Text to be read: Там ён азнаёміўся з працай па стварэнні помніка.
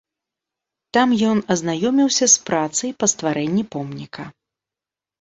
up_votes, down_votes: 2, 0